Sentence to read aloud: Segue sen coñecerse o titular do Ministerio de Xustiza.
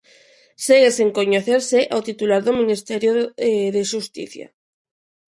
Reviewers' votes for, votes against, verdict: 0, 3, rejected